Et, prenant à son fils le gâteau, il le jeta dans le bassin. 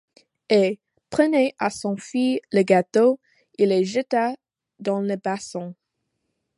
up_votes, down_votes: 1, 2